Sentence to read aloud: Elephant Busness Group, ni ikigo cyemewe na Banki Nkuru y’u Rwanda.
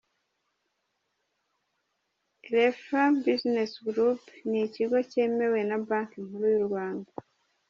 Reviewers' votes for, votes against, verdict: 2, 1, accepted